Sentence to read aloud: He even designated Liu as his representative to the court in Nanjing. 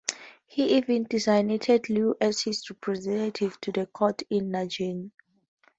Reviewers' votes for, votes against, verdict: 2, 0, accepted